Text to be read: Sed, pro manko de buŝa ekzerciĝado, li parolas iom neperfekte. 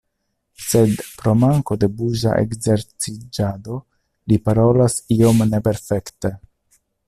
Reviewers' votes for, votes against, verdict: 2, 1, accepted